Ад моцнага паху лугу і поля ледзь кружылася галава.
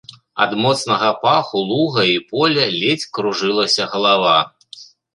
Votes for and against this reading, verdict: 0, 2, rejected